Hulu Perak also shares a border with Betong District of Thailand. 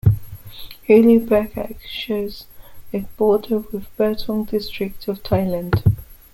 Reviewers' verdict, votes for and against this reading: rejected, 0, 2